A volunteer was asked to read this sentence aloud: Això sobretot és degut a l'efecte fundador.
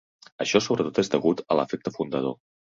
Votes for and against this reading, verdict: 3, 0, accepted